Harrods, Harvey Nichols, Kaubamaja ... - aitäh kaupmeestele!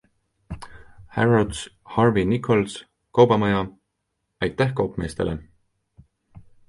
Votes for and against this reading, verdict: 2, 0, accepted